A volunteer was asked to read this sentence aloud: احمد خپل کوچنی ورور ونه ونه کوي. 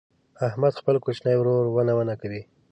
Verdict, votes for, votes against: accepted, 2, 0